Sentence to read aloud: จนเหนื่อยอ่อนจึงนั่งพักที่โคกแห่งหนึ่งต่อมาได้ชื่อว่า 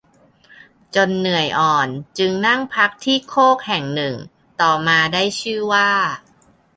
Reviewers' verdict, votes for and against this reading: accepted, 2, 0